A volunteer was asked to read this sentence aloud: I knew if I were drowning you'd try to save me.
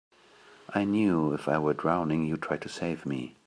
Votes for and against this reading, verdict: 1, 2, rejected